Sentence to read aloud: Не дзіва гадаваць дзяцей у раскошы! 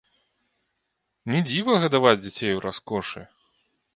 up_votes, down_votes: 2, 0